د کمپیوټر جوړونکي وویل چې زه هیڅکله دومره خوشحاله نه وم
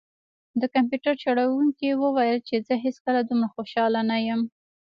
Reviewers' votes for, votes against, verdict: 1, 3, rejected